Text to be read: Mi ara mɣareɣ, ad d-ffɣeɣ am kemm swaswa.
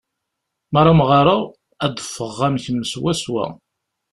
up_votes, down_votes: 2, 0